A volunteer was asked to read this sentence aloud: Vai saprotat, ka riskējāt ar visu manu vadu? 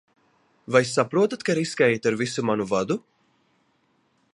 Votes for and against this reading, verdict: 2, 0, accepted